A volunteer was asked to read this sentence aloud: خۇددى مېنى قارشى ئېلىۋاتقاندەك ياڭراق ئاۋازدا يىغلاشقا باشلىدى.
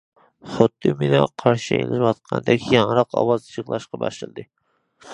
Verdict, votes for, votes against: accepted, 2, 1